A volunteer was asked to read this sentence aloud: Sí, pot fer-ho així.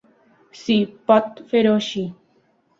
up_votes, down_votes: 3, 0